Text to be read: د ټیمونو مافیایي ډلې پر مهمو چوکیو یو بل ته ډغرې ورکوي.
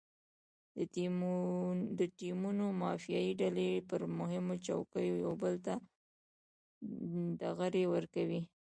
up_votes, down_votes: 1, 2